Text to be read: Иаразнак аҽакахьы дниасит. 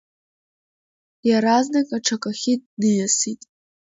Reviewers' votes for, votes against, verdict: 2, 0, accepted